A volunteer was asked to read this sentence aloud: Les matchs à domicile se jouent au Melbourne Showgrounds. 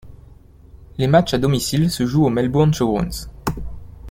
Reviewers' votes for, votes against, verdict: 0, 2, rejected